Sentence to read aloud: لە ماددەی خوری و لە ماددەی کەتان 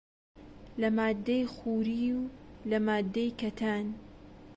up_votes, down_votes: 0, 2